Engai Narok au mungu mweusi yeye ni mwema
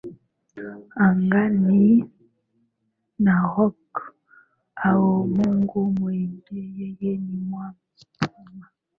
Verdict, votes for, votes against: rejected, 0, 2